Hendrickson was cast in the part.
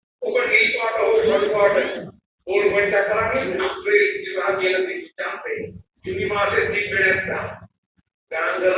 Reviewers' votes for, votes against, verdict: 0, 3, rejected